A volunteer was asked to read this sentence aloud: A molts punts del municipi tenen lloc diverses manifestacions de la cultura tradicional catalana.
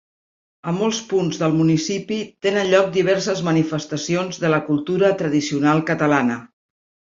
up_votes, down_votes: 2, 0